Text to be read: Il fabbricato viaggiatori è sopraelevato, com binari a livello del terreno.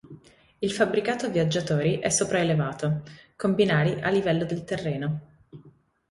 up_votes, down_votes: 2, 0